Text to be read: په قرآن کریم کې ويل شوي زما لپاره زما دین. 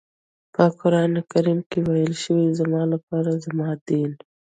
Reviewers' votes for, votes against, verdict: 2, 1, accepted